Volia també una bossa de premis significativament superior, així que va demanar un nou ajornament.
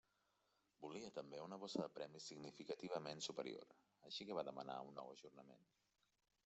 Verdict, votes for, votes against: rejected, 1, 2